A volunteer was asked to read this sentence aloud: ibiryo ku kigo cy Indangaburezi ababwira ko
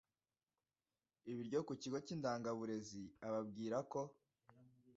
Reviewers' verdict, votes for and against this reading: accepted, 2, 0